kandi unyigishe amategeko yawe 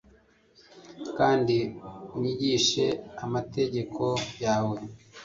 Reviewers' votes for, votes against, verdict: 1, 2, rejected